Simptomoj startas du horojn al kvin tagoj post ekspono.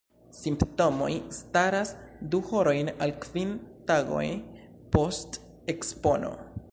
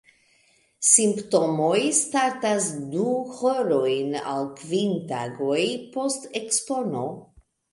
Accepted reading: second